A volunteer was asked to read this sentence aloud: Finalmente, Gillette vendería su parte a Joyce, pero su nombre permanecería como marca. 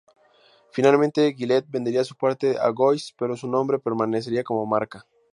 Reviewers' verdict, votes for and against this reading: rejected, 0, 2